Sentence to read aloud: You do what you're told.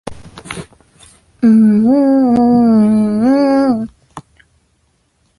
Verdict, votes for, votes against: rejected, 0, 2